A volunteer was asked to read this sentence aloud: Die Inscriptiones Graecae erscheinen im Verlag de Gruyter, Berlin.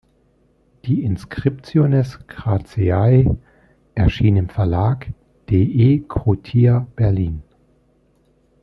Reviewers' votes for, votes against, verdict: 0, 2, rejected